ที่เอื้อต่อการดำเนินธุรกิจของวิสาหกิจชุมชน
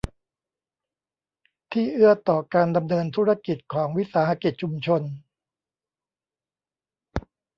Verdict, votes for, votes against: rejected, 0, 2